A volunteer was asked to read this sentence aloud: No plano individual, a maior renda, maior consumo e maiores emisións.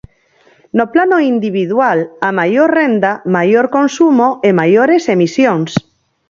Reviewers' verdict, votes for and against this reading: rejected, 0, 4